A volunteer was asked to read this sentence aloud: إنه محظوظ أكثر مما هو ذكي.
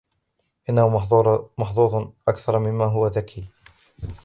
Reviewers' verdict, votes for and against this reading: rejected, 0, 2